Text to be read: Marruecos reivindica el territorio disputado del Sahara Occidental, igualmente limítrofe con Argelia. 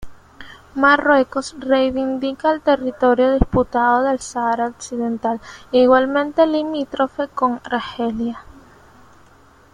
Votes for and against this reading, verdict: 1, 2, rejected